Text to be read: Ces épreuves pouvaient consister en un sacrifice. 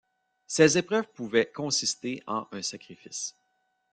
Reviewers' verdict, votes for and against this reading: rejected, 1, 2